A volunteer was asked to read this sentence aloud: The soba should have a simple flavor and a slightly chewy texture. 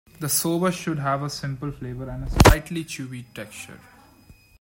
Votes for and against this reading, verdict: 1, 2, rejected